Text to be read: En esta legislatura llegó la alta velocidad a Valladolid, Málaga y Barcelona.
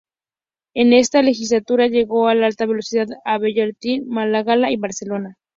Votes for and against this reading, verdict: 0, 2, rejected